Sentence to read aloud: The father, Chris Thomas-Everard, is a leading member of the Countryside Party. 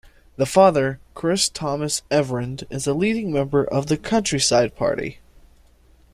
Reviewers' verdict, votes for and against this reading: rejected, 1, 2